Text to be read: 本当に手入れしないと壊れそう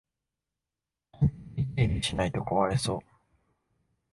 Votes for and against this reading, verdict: 1, 3, rejected